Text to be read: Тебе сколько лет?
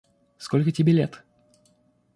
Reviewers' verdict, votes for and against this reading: rejected, 0, 2